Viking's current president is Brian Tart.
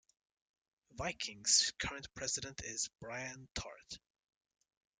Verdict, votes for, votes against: accepted, 2, 0